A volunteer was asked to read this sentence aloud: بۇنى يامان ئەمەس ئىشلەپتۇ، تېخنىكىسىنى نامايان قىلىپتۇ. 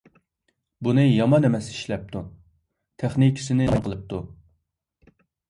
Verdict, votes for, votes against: rejected, 0, 2